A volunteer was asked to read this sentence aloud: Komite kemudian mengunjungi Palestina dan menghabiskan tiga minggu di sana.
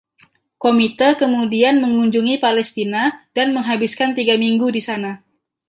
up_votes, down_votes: 2, 0